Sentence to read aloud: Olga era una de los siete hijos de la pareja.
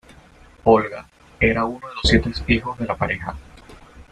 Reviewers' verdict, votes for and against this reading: rejected, 0, 2